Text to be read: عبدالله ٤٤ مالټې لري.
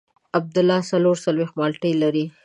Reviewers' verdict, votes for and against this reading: rejected, 0, 2